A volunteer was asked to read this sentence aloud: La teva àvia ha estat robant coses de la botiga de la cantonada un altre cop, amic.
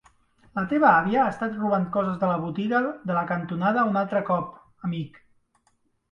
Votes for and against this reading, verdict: 2, 1, accepted